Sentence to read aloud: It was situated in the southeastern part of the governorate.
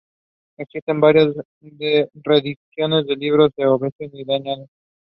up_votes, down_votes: 0, 3